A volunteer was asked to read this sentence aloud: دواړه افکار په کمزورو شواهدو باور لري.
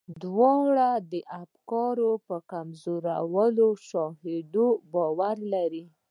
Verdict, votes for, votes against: accepted, 2, 1